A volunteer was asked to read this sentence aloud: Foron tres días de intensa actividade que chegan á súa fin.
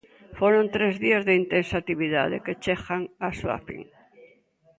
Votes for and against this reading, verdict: 2, 1, accepted